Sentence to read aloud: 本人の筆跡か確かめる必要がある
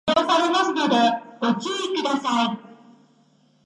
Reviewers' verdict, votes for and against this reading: rejected, 0, 4